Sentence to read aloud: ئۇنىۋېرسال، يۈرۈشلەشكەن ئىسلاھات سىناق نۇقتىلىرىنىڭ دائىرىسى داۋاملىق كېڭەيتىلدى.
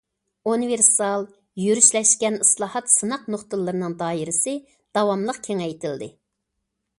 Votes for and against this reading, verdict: 2, 0, accepted